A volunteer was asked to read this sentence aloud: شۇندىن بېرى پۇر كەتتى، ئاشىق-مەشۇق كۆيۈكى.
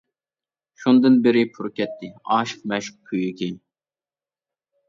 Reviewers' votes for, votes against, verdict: 2, 1, accepted